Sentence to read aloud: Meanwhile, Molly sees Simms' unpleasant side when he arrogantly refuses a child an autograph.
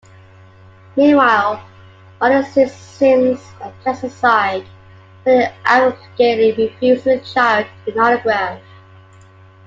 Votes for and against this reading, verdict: 2, 1, accepted